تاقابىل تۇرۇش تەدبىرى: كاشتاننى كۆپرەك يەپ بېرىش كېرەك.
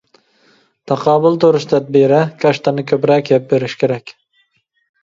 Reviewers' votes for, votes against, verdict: 1, 2, rejected